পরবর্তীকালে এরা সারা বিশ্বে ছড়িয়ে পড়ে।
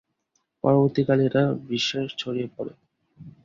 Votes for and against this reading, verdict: 0, 2, rejected